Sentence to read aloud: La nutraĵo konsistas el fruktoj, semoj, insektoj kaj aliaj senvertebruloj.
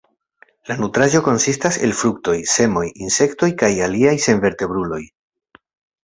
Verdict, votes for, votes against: accepted, 2, 0